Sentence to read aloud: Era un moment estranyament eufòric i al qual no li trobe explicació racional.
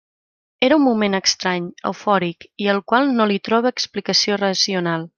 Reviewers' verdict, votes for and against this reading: rejected, 0, 2